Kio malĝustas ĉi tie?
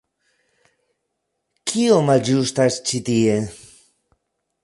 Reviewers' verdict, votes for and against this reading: accepted, 2, 0